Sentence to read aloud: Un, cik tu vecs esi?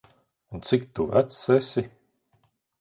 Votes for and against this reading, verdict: 2, 1, accepted